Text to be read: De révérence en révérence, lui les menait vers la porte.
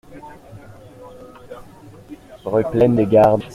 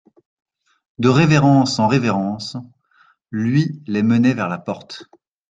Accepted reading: second